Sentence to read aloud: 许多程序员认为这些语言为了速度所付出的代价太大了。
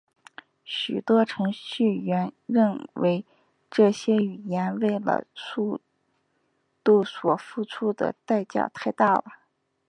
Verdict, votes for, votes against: accepted, 2, 1